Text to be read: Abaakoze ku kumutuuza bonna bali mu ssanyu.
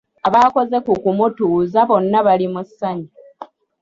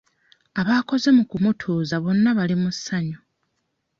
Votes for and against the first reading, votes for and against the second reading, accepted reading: 2, 0, 1, 2, first